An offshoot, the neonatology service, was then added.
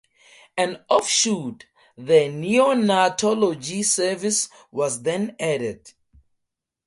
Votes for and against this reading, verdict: 2, 0, accepted